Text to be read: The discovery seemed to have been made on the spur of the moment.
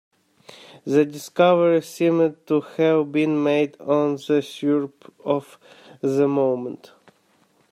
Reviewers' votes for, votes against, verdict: 0, 2, rejected